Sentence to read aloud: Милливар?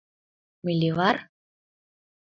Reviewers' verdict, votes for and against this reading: accepted, 2, 0